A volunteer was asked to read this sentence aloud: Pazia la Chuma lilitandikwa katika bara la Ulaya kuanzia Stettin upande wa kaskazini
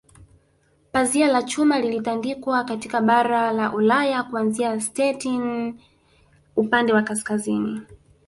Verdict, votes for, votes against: accepted, 3, 0